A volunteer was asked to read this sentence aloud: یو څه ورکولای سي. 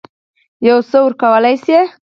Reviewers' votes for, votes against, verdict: 8, 4, accepted